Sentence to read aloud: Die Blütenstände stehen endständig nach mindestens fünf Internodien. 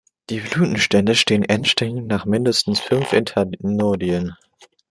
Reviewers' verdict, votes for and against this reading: rejected, 1, 2